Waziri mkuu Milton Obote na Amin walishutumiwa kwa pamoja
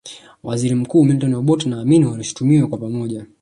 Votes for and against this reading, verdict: 1, 2, rejected